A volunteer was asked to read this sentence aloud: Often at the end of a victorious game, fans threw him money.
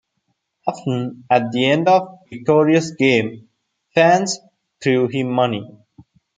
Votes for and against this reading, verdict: 1, 2, rejected